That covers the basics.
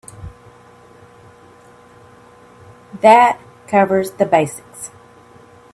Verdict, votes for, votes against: accepted, 2, 0